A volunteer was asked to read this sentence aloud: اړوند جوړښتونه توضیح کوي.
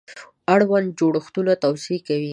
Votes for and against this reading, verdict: 2, 0, accepted